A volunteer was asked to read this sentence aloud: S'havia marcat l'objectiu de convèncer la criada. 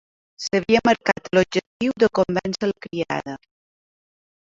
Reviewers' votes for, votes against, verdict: 0, 2, rejected